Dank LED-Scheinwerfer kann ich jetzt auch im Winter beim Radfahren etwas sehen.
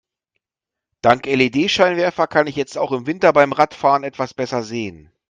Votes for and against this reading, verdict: 1, 2, rejected